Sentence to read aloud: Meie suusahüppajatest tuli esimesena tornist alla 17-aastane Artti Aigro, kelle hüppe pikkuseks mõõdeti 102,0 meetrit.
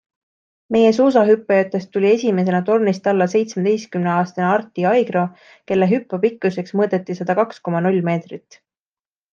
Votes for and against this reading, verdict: 0, 2, rejected